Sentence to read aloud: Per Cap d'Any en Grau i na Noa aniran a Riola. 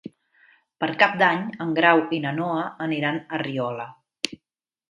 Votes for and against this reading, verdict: 3, 0, accepted